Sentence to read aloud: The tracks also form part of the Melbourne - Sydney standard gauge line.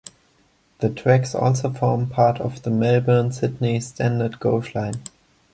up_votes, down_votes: 1, 2